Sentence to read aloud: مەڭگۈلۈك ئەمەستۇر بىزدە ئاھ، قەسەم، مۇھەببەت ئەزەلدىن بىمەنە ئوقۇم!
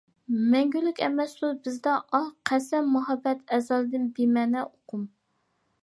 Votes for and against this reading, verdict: 2, 0, accepted